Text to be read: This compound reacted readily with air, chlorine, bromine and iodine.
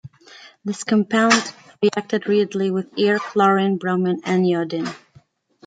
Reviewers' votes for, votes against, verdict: 2, 0, accepted